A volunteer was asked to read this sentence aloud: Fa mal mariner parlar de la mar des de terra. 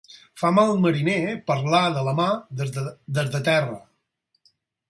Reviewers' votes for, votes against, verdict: 0, 4, rejected